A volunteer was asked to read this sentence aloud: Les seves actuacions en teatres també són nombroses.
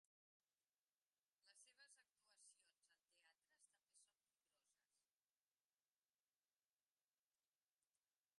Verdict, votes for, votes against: rejected, 0, 3